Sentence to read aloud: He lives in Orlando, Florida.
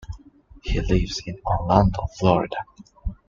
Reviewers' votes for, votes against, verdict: 2, 0, accepted